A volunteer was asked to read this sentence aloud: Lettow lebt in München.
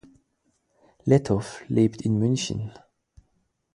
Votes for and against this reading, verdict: 4, 0, accepted